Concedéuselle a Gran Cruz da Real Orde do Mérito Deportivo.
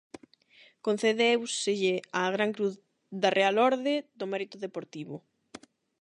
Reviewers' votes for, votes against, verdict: 8, 0, accepted